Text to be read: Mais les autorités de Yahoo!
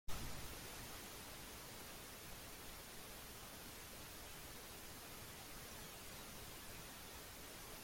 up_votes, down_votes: 1, 2